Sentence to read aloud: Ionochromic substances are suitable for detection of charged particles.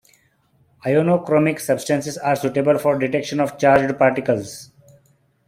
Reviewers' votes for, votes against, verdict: 2, 1, accepted